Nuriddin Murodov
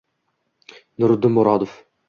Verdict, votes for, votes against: accepted, 2, 0